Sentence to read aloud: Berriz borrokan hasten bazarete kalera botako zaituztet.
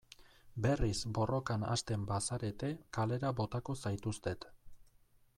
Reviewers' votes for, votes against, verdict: 2, 0, accepted